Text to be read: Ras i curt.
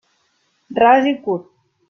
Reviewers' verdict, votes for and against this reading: accepted, 2, 0